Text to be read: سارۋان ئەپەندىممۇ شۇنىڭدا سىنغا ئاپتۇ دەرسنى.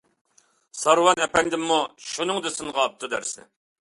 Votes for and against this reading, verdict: 2, 0, accepted